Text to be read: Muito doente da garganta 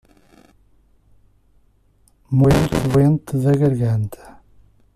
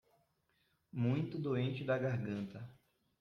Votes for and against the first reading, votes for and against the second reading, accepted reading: 1, 2, 2, 0, second